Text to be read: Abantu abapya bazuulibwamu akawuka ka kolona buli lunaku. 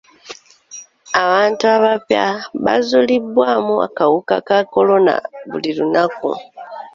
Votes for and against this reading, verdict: 2, 0, accepted